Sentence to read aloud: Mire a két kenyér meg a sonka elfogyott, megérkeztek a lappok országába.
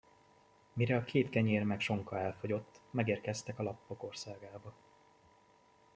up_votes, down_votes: 0, 2